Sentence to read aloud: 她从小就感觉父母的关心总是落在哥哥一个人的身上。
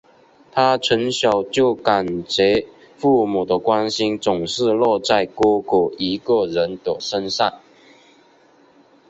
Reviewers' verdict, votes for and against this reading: rejected, 0, 3